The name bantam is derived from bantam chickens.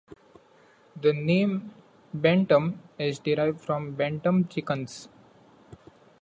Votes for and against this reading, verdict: 2, 1, accepted